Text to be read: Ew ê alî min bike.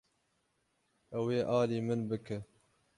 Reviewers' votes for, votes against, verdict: 6, 6, rejected